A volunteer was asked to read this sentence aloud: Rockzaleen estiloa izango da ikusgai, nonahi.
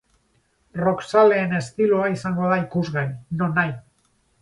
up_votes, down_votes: 4, 0